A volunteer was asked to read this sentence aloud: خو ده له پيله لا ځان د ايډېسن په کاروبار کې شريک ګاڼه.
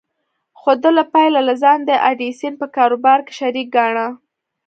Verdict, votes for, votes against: rejected, 1, 2